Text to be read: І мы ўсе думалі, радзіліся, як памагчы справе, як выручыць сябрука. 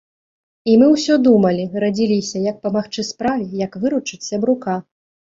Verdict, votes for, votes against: rejected, 0, 2